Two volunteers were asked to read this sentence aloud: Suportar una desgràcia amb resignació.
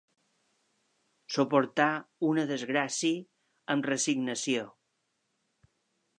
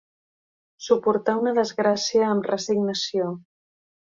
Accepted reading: second